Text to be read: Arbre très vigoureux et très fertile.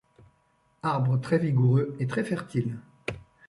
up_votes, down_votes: 2, 0